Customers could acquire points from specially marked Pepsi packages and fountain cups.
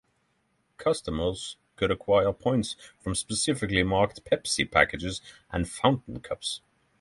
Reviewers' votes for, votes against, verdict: 0, 3, rejected